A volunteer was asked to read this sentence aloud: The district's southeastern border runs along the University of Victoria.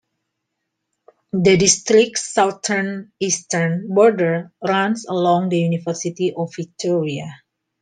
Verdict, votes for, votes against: rejected, 1, 2